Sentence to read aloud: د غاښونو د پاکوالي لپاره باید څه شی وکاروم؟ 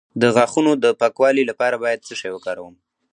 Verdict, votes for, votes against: rejected, 0, 2